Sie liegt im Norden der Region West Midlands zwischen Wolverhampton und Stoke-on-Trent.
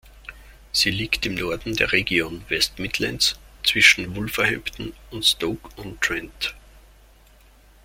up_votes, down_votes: 2, 0